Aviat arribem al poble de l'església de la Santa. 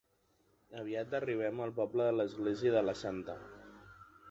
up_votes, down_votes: 2, 1